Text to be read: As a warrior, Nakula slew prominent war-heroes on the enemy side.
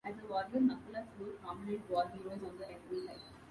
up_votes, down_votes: 0, 2